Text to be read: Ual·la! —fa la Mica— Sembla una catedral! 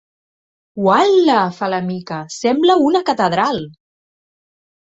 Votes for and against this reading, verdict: 2, 0, accepted